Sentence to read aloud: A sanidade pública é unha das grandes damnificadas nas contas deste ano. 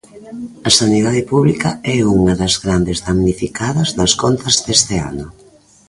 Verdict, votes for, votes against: rejected, 0, 2